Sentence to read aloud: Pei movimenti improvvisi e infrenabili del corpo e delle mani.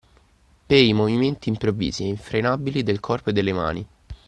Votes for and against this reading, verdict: 2, 0, accepted